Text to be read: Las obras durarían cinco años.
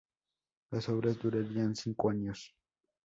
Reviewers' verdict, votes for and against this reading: accepted, 2, 0